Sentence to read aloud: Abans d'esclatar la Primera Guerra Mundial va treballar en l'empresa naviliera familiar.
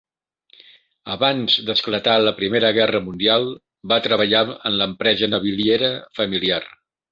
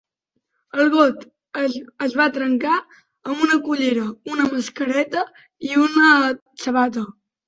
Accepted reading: first